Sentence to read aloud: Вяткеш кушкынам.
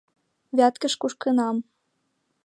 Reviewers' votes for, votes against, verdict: 2, 0, accepted